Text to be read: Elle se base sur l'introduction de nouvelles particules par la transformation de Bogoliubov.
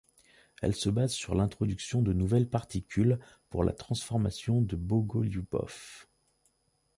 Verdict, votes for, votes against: rejected, 0, 2